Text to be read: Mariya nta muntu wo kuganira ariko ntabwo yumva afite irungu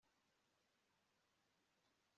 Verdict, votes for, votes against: rejected, 1, 2